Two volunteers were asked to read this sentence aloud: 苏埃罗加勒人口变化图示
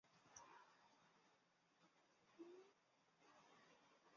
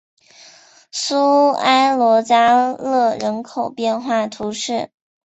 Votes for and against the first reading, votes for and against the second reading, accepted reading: 0, 3, 6, 0, second